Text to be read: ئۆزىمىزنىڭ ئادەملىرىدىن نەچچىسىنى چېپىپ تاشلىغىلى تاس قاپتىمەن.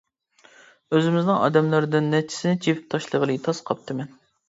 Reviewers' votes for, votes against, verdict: 1, 2, rejected